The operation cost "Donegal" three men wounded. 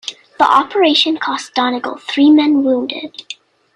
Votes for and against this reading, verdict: 2, 0, accepted